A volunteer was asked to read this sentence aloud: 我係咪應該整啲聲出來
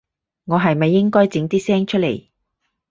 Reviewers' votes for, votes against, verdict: 2, 2, rejected